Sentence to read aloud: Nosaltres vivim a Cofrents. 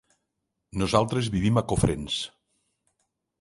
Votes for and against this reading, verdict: 3, 0, accepted